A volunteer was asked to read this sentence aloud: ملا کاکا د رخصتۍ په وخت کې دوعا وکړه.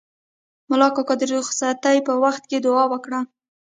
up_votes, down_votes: 2, 0